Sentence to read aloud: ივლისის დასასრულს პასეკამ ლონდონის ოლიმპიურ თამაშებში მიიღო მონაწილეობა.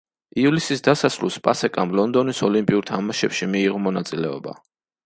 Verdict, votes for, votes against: accepted, 2, 0